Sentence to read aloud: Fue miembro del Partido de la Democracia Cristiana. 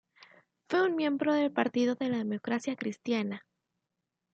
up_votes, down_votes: 0, 2